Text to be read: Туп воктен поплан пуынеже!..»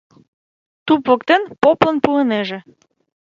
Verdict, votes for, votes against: rejected, 1, 2